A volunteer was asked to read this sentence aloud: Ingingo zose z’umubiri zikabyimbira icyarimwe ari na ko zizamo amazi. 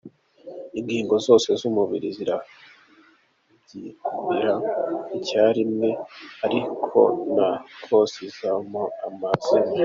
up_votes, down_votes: 0, 2